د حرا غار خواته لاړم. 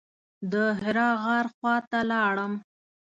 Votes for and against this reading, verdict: 2, 0, accepted